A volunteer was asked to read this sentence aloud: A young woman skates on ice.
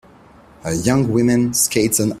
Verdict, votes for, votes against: rejected, 0, 2